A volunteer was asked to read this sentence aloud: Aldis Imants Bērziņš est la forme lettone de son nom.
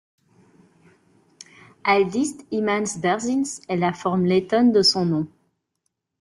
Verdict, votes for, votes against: accepted, 2, 0